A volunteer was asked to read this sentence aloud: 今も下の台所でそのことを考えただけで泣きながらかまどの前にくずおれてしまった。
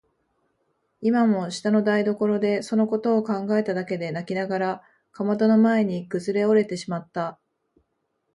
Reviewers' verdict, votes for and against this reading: rejected, 0, 2